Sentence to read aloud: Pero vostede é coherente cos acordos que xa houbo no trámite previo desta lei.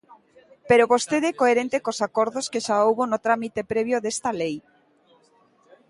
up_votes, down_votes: 2, 0